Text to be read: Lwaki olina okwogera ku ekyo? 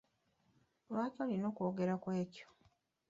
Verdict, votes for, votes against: accepted, 2, 1